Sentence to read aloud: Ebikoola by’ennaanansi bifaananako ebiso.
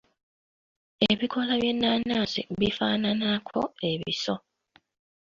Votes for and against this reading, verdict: 0, 2, rejected